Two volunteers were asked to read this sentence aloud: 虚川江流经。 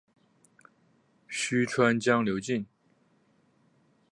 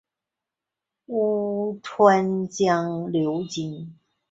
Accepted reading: first